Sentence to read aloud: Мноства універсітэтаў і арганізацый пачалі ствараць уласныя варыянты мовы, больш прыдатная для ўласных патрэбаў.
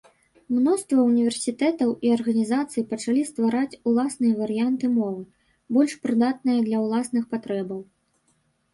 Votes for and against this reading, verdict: 2, 0, accepted